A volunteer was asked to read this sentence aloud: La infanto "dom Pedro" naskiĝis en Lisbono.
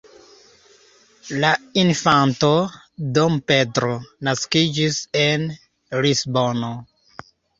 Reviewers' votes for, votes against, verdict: 2, 1, accepted